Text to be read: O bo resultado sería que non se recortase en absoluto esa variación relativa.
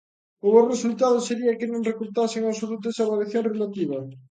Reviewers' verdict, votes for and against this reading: rejected, 1, 2